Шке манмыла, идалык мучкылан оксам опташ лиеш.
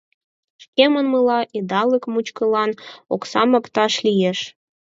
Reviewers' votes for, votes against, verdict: 4, 0, accepted